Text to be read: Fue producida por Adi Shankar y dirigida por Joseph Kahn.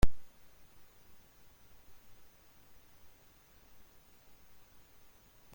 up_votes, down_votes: 0, 2